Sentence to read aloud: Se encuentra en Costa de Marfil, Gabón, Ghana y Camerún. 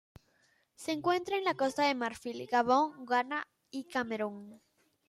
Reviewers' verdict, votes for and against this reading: rejected, 1, 2